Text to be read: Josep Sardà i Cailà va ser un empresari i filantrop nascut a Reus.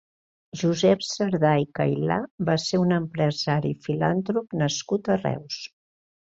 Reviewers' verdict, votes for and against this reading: rejected, 1, 2